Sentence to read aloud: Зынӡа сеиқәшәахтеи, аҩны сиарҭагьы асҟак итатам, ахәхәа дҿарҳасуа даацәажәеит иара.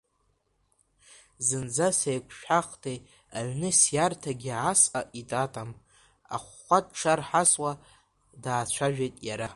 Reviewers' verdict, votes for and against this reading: rejected, 1, 2